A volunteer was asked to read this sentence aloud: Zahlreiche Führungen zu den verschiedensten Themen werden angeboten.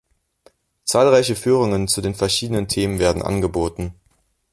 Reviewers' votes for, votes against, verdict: 1, 2, rejected